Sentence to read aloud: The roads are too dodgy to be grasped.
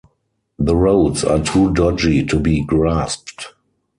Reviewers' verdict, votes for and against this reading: accepted, 6, 0